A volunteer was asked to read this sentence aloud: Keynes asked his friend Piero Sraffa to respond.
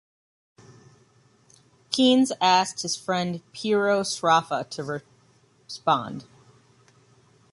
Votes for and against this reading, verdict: 2, 1, accepted